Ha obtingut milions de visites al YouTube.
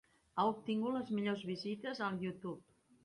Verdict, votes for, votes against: rejected, 0, 3